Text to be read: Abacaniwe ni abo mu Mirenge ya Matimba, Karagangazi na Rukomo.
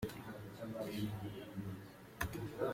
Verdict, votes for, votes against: rejected, 0, 2